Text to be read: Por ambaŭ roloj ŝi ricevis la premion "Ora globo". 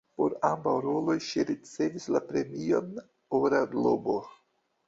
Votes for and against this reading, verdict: 2, 1, accepted